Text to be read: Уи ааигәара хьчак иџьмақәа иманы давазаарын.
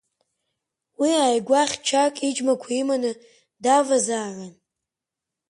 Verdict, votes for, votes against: rejected, 0, 5